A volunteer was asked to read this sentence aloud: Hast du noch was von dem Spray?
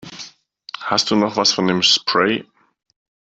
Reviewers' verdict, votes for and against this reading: accepted, 2, 0